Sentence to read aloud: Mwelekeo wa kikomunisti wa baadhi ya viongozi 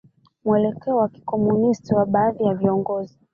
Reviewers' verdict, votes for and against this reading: rejected, 0, 2